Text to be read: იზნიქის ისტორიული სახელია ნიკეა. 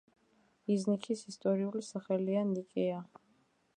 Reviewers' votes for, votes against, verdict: 1, 2, rejected